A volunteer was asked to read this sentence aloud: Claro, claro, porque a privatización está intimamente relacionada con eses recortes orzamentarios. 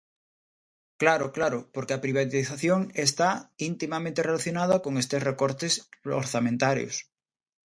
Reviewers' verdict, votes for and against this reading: rejected, 1, 2